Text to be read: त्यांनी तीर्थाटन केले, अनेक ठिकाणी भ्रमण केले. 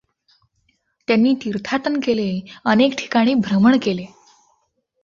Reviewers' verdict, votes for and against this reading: accepted, 2, 0